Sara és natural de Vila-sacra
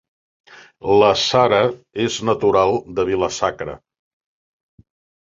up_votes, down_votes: 0, 2